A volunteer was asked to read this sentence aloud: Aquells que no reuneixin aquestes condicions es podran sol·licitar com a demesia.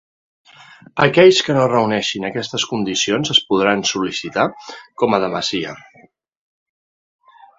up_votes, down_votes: 2, 0